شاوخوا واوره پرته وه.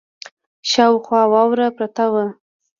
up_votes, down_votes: 2, 1